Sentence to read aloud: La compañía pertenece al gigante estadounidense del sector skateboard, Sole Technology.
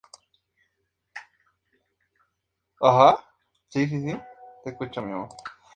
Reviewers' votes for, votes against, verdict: 0, 2, rejected